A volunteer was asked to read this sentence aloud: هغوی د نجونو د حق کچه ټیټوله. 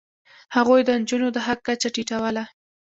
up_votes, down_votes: 2, 0